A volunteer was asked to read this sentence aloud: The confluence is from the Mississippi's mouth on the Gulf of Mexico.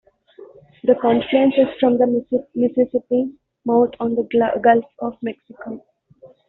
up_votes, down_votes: 0, 2